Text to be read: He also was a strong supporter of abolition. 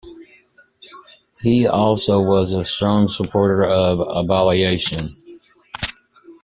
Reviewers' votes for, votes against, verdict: 1, 2, rejected